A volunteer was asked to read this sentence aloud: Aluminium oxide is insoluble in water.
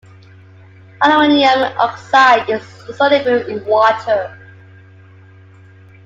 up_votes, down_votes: 0, 2